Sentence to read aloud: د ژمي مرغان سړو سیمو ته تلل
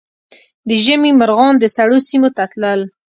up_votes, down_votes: 0, 2